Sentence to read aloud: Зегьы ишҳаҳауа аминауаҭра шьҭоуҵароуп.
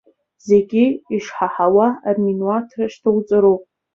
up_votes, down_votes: 2, 0